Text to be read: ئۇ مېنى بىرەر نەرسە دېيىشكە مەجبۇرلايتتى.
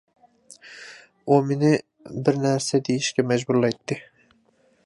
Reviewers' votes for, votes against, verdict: 0, 2, rejected